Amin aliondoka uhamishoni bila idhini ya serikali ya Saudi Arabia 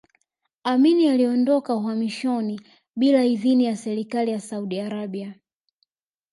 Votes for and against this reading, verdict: 3, 0, accepted